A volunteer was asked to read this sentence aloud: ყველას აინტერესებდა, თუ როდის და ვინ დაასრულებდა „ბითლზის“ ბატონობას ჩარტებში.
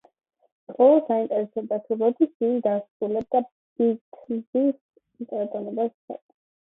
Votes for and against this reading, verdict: 0, 2, rejected